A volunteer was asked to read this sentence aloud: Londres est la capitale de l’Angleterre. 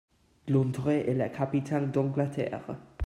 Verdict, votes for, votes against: rejected, 0, 2